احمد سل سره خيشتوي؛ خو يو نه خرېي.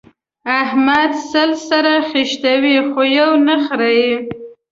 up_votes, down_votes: 2, 0